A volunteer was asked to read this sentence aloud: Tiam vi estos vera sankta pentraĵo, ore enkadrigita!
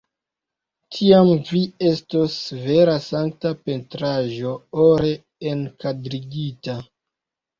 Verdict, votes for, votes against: accepted, 3, 1